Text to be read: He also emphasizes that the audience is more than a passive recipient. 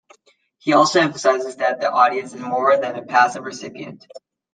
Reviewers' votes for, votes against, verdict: 2, 0, accepted